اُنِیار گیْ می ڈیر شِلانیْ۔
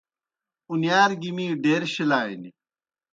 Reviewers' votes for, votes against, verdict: 2, 0, accepted